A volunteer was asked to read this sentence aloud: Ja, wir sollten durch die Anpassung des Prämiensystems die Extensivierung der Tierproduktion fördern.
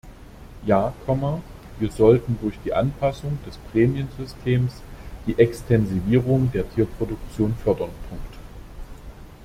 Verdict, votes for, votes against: rejected, 1, 2